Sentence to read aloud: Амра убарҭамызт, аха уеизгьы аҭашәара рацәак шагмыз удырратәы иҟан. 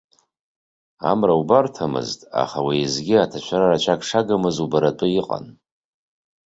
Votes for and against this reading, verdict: 1, 2, rejected